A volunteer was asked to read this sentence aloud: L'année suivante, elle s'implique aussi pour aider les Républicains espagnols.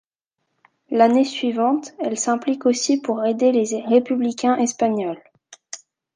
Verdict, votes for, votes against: rejected, 0, 2